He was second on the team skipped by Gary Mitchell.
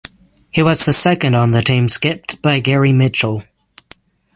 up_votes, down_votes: 0, 6